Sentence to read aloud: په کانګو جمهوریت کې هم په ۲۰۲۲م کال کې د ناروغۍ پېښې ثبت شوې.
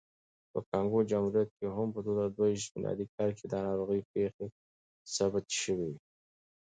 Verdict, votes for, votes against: rejected, 0, 2